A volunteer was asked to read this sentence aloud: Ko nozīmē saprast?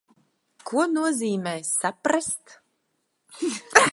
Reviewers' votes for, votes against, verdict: 2, 1, accepted